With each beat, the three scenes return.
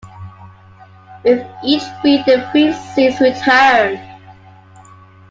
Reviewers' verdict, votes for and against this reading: accepted, 2, 1